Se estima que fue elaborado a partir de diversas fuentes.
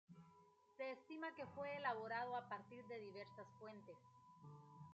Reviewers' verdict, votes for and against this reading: rejected, 1, 2